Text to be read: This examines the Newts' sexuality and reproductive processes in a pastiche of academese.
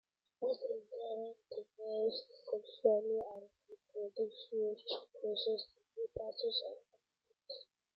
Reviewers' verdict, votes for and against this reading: rejected, 0, 2